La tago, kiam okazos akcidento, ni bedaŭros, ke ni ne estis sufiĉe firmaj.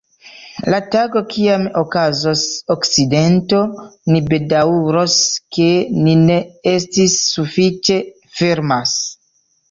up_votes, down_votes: 0, 2